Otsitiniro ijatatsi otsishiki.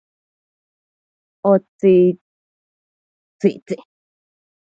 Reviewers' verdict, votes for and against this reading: rejected, 0, 2